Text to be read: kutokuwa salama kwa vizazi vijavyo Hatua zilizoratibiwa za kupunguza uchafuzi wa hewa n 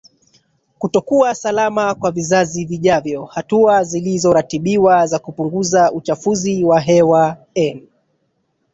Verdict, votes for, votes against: accepted, 2, 1